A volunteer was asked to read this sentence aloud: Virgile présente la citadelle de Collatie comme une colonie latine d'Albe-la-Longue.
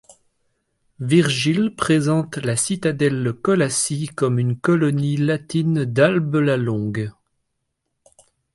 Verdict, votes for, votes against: rejected, 0, 2